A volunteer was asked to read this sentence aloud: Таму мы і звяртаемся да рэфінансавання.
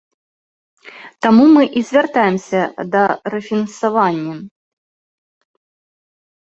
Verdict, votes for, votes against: accepted, 2, 0